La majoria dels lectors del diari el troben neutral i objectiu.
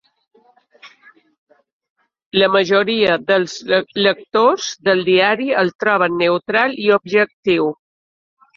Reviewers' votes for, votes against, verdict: 0, 2, rejected